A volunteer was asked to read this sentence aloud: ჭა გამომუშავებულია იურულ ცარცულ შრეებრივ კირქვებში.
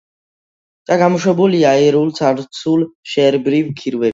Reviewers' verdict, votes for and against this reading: accepted, 2, 1